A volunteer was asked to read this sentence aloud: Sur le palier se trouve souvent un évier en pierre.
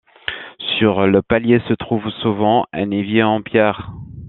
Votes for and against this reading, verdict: 2, 0, accepted